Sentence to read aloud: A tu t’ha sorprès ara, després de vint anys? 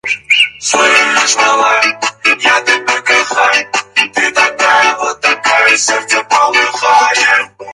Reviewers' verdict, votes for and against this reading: rejected, 0, 4